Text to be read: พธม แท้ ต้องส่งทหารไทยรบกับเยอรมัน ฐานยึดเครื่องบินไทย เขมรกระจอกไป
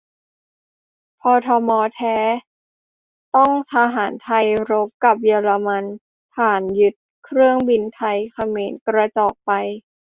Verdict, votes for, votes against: rejected, 1, 2